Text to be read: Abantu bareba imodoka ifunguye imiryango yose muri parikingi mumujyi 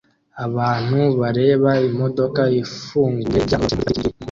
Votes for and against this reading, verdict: 0, 2, rejected